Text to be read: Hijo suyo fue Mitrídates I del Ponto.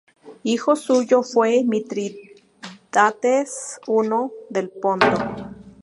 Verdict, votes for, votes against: rejected, 0, 2